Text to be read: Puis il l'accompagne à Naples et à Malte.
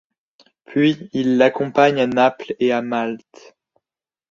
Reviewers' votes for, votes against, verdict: 2, 0, accepted